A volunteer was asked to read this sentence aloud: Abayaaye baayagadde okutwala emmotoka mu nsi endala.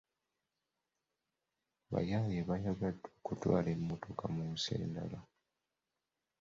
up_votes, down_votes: 2, 0